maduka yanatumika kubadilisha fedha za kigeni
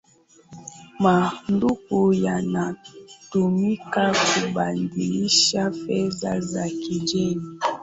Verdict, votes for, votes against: rejected, 1, 2